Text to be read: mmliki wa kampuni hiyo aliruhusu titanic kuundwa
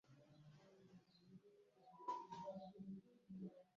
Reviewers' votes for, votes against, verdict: 0, 3, rejected